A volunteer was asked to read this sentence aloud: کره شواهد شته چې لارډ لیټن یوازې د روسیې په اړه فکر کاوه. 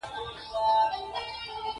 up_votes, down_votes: 1, 2